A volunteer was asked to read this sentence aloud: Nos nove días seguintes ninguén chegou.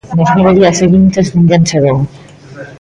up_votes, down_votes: 1, 2